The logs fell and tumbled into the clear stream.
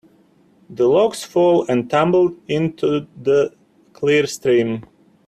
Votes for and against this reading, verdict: 2, 0, accepted